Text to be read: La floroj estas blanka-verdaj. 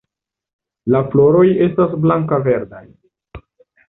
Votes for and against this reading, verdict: 2, 0, accepted